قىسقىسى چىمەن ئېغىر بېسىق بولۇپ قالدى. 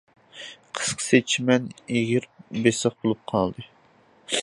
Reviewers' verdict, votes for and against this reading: accepted, 2, 0